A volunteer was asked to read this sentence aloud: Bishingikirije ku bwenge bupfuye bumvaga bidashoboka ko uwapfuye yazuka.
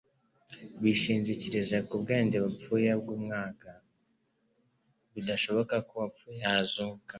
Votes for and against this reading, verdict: 1, 2, rejected